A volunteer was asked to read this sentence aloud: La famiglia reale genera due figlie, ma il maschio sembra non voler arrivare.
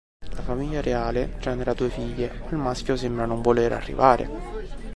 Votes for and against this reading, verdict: 2, 3, rejected